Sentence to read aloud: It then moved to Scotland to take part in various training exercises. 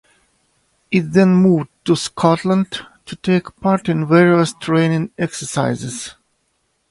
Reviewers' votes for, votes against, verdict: 2, 0, accepted